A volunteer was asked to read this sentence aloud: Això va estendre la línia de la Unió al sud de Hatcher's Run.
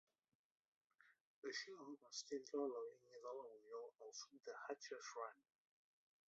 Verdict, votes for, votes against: rejected, 1, 2